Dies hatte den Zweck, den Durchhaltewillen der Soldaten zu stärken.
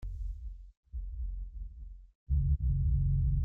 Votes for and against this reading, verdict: 0, 2, rejected